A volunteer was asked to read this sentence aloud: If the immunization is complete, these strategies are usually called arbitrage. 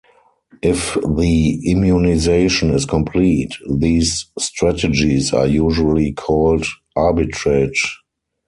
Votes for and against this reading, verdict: 4, 0, accepted